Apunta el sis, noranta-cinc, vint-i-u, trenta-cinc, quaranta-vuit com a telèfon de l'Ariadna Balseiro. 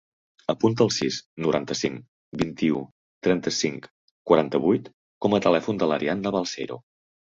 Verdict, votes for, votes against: rejected, 1, 2